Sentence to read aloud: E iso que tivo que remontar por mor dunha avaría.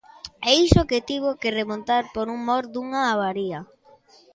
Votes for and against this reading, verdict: 1, 2, rejected